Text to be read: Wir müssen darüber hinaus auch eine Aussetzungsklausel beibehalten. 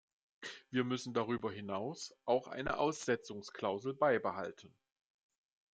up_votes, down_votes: 2, 0